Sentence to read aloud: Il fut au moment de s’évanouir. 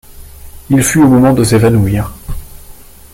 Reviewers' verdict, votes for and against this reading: accepted, 2, 0